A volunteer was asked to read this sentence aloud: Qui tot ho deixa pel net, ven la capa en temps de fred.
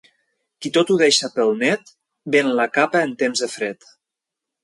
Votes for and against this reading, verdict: 2, 0, accepted